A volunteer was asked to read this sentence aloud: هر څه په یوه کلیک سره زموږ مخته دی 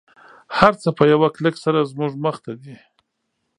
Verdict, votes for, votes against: accepted, 3, 0